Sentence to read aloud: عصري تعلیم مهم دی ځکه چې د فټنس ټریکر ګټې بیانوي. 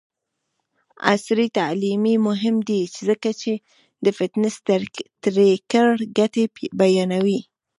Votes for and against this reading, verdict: 0, 2, rejected